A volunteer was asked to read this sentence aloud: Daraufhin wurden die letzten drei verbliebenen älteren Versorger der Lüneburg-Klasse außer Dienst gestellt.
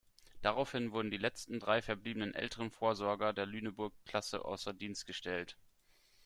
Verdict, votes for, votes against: rejected, 0, 2